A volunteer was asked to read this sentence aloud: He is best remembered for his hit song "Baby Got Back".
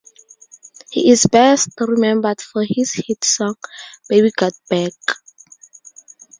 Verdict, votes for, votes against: accepted, 4, 0